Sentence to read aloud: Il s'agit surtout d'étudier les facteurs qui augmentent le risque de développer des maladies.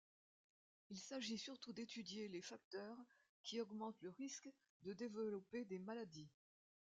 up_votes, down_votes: 2, 1